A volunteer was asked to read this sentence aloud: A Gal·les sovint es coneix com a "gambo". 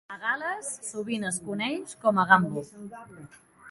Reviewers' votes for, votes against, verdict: 2, 0, accepted